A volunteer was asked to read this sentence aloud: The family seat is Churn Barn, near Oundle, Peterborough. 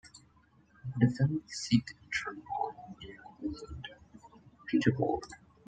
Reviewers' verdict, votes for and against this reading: rejected, 0, 2